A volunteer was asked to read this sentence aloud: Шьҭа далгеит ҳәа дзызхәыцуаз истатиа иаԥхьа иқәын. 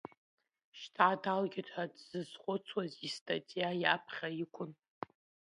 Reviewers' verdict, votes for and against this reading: accepted, 2, 1